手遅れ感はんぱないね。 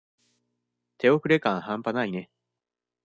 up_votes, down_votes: 2, 0